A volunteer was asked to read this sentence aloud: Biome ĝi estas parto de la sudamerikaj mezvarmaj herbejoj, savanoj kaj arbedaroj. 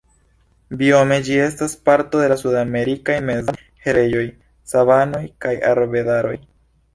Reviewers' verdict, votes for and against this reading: rejected, 2, 3